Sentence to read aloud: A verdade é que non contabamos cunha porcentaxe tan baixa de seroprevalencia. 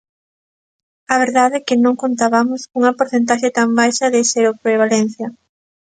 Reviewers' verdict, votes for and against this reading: accepted, 2, 0